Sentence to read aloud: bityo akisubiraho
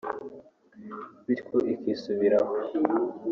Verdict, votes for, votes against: rejected, 0, 2